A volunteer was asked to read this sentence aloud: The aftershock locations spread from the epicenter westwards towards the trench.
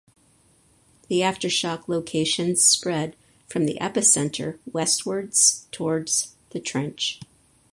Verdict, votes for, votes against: accepted, 4, 0